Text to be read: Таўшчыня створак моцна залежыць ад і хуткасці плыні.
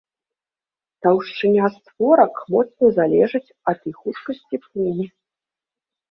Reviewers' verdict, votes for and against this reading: rejected, 0, 2